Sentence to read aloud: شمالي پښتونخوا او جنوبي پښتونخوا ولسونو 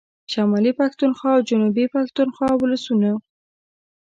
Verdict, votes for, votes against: rejected, 1, 2